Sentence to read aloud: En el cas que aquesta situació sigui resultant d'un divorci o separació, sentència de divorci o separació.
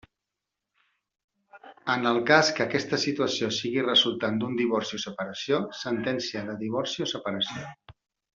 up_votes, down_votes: 1, 2